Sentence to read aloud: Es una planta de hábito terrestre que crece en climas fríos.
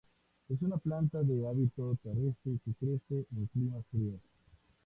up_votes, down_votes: 2, 0